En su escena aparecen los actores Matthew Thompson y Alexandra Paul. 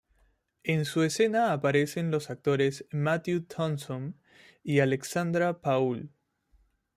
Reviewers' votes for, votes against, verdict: 2, 0, accepted